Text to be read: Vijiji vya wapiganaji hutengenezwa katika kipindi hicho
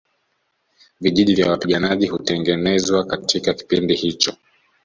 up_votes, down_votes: 2, 0